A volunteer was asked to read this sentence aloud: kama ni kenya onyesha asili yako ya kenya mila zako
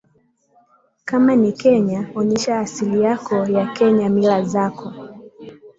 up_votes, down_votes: 2, 0